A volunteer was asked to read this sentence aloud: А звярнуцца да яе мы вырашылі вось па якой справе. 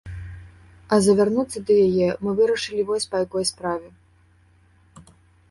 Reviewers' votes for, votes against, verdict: 0, 2, rejected